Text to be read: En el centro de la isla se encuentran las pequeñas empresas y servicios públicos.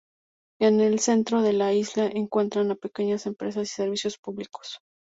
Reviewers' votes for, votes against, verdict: 0, 2, rejected